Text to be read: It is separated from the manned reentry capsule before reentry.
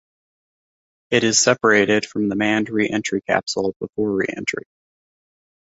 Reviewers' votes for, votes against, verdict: 2, 0, accepted